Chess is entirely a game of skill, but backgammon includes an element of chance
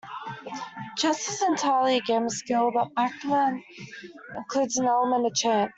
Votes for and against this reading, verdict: 0, 2, rejected